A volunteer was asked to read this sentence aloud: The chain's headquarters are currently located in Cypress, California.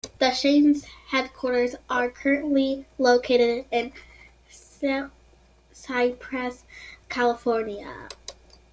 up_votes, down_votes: 0, 2